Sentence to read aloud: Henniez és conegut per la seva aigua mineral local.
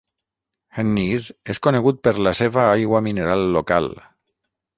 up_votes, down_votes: 3, 3